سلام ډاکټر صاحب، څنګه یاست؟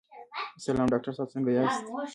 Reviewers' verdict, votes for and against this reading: accepted, 2, 1